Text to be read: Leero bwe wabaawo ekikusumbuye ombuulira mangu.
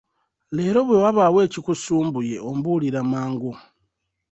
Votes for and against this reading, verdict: 2, 0, accepted